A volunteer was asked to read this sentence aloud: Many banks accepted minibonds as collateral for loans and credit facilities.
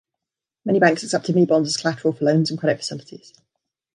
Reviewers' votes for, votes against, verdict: 1, 3, rejected